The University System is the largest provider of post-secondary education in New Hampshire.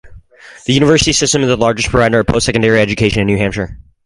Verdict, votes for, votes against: accepted, 4, 0